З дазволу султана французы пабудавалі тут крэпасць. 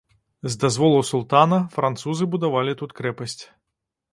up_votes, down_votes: 0, 2